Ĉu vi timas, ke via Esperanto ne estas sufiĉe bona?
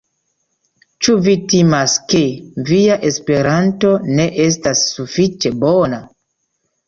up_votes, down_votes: 2, 0